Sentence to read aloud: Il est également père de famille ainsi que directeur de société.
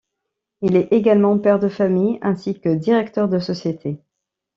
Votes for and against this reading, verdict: 2, 0, accepted